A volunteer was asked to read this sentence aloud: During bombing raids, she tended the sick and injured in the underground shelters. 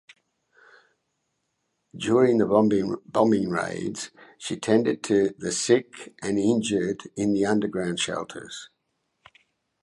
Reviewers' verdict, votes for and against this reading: rejected, 0, 2